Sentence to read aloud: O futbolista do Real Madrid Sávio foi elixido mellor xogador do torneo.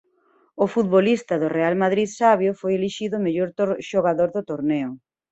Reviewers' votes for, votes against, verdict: 1, 2, rejected